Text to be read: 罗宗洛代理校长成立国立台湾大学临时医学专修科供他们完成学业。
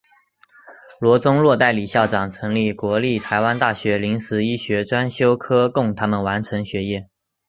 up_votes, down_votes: 4, 0